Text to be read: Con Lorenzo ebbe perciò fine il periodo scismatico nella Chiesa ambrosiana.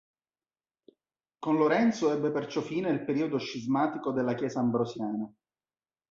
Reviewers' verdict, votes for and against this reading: rejected, 0, 2